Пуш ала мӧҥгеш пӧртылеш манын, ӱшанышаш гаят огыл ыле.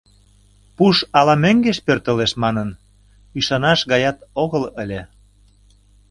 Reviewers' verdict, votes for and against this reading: rejected, 0, 2